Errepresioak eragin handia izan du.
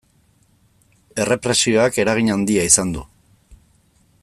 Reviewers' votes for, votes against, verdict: 2, 0, accepted